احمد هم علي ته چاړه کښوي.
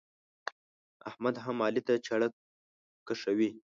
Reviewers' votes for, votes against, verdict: 1, 2, rejected